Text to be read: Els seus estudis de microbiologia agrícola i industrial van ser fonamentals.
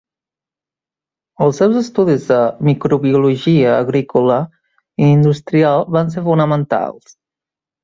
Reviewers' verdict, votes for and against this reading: accepted, 2, 0